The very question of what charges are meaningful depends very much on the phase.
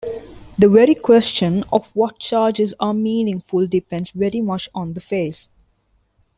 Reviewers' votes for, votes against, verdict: 2, 0, accepted